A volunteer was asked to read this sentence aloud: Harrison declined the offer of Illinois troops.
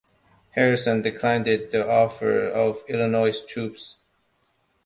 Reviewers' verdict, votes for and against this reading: rejected, 1, 2